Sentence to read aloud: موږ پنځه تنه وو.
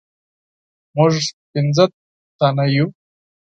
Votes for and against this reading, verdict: 0, 4, rejected